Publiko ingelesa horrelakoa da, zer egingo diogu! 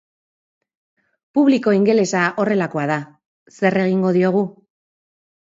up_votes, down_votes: 2, 0